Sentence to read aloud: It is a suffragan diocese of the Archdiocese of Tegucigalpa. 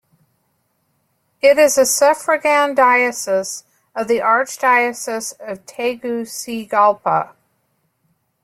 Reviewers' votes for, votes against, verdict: 2, 0, accepted